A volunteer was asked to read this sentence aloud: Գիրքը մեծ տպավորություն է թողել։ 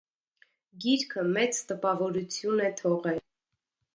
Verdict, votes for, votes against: rejected, 1, 2